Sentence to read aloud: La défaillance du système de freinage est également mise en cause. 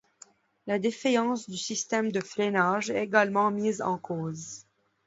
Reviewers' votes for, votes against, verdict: 1, 2, rejected